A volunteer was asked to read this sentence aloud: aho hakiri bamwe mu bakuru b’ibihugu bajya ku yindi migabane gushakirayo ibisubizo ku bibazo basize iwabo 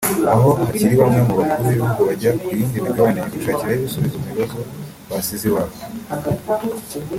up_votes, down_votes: 2, 3